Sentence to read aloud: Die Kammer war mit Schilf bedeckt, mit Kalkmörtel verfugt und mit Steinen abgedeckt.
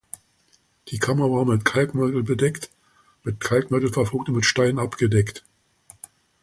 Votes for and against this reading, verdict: 1, 2, rejected